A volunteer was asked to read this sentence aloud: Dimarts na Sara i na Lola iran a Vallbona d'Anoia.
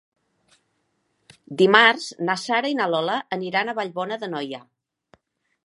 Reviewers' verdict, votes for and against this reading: rejected, 0, 2